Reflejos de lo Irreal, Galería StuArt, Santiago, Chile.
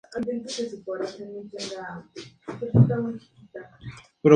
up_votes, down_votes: 0, 4